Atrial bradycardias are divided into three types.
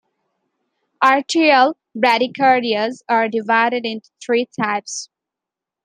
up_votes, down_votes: 2, 0